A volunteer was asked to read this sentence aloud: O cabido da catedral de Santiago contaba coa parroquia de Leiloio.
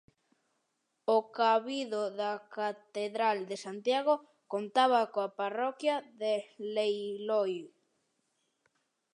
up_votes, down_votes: 0, 2